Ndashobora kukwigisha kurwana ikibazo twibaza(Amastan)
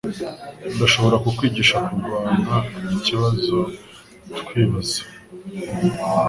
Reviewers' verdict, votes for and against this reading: rejected, 1, 2